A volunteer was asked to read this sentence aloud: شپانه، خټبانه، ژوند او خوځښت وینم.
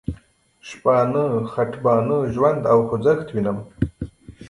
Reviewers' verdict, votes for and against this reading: accepted, 2, 1